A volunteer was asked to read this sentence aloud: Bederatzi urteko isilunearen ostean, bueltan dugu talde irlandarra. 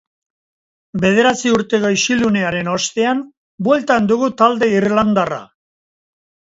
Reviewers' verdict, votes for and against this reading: rejected, 1, 2